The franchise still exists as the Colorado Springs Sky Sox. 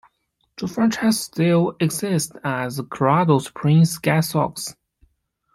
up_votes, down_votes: 1, 2